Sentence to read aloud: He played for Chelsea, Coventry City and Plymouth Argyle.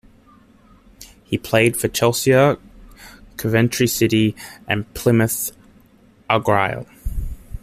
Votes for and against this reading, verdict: 2, 0, accepted